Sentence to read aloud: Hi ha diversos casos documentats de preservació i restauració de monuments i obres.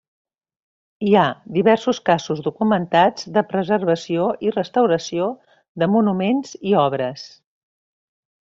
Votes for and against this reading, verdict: 3, 0, accepted